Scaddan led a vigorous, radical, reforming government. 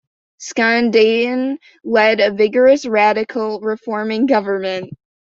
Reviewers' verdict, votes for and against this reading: rejected, 1, 2